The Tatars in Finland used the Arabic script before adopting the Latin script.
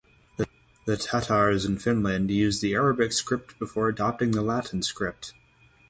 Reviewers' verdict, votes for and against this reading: rejected, 3, 3